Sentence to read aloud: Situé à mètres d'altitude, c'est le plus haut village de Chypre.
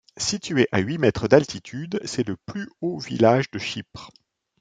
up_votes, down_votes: 0, 2